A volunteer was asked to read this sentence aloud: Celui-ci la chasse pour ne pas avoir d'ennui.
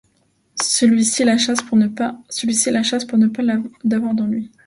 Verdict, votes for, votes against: rejected, 0, 2